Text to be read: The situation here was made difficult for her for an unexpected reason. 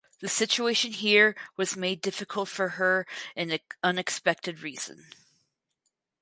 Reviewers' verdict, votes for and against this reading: rejected, 0, 4